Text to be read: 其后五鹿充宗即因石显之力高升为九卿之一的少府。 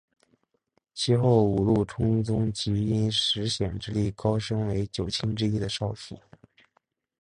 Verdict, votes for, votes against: accepted, 7, 0